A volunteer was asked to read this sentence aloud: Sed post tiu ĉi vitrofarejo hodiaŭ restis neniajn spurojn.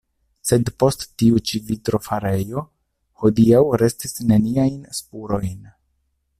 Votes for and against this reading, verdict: 2, 0, accepted